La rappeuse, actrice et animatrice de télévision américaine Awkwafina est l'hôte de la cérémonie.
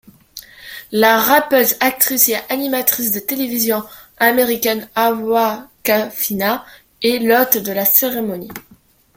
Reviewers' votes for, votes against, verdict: 0, 2, rejected